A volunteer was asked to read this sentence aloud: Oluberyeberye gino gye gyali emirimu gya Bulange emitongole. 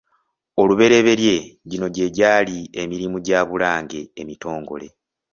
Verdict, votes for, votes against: accepted, 2, 0